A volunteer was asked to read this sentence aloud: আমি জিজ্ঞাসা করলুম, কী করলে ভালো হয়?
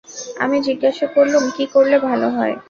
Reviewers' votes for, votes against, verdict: 2, 0, accepted